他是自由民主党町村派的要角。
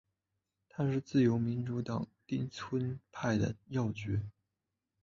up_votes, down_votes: 2, 0